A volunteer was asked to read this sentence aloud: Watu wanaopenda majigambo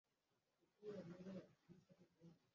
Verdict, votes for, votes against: rejected, 0, 9